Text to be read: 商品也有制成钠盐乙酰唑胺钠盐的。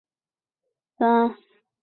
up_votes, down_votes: 0, 2